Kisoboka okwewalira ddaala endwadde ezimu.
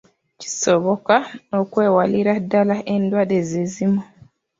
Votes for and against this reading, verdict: 0, 2, rejected